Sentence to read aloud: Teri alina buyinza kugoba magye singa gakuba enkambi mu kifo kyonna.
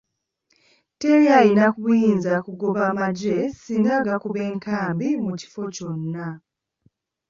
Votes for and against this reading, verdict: 1, 2, rejected